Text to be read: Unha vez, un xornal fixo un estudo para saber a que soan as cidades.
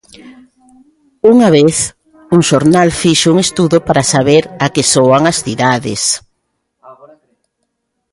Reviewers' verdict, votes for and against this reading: rejected, 0, 2